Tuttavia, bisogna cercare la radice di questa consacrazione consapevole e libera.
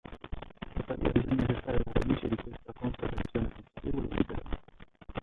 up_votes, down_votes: 0, 2